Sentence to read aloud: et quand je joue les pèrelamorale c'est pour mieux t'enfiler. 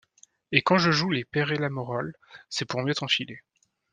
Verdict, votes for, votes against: rejected, 0, 2